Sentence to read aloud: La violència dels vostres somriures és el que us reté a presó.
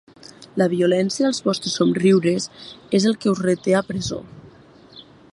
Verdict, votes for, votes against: accepted, 3, 0